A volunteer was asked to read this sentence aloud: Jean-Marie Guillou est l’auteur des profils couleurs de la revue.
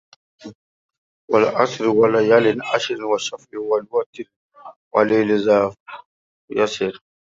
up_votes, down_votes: 0, 2